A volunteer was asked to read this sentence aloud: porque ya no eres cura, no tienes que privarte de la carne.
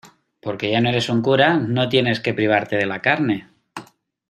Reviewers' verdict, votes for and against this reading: rejected, 0, 2